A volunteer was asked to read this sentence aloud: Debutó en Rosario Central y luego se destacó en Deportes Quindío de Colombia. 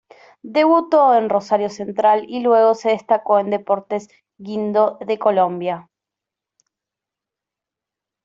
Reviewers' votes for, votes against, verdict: 0, 2, rejected